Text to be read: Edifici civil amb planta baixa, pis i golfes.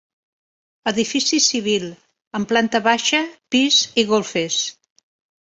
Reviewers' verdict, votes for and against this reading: accepted, 2, 0